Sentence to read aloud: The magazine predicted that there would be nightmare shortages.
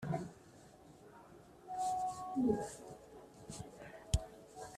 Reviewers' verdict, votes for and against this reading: rejected, 0, 2